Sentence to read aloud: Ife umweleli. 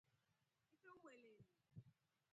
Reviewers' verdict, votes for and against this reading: rejected, 0, 2